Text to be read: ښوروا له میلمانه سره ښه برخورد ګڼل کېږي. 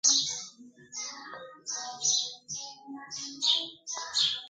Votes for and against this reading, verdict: 0, 4, rejected